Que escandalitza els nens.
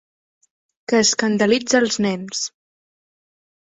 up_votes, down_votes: 3, 0